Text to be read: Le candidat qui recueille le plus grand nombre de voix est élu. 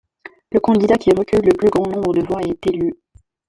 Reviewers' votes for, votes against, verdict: 2, 0, accepted